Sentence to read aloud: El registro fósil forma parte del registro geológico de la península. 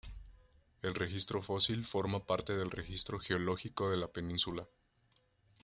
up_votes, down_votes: 2, 0